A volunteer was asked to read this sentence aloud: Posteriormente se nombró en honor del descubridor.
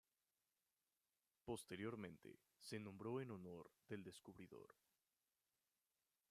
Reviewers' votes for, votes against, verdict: 2, 0, accepted